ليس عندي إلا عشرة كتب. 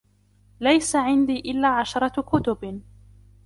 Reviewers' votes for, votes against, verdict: 2, 0, accepted